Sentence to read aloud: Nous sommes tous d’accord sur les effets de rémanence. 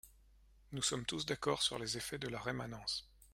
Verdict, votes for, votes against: rejected, 0, 2